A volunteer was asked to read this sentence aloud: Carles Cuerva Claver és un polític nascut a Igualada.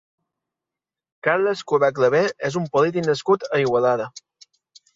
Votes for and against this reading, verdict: 0, 2, rejected